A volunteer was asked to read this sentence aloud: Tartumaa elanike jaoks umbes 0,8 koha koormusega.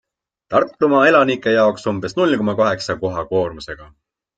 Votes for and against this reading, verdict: 0, 2, rejected